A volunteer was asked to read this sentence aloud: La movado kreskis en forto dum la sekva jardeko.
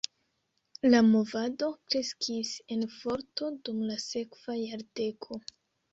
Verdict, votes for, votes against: accepted, 2, 0